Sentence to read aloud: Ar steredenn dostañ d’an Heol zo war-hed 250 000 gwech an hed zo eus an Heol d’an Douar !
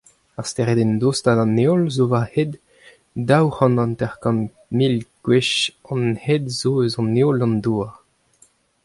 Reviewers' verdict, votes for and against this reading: rejected, 0, 2